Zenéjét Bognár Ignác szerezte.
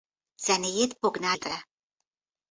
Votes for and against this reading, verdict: 0, 2, rejected